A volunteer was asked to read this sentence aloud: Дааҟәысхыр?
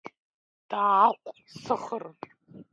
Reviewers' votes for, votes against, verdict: 0, 2, rejected